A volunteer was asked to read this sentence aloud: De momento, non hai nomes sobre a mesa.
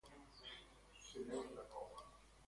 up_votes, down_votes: 0, 2